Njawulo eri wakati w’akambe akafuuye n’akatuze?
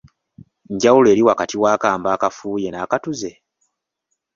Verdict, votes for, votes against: accepted, 2, 0